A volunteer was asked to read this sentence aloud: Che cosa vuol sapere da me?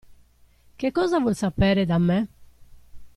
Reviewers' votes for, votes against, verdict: 2, 0, accepted